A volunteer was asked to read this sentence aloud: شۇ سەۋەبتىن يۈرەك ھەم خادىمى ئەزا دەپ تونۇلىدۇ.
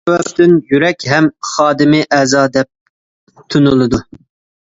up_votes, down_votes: 0, 2